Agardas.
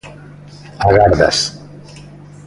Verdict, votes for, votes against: accepted, 2, 0